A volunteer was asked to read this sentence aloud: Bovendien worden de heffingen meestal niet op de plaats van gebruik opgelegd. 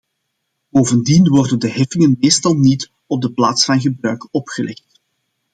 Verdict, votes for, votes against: accepted, 2, 0